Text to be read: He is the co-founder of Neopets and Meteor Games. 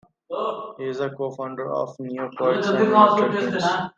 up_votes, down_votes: 1, 2